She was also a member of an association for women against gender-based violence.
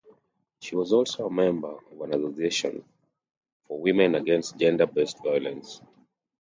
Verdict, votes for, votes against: rejected, 1, 2